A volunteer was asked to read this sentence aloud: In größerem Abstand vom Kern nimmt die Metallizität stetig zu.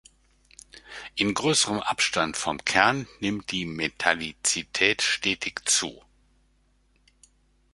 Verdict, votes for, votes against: rejected, 0, 2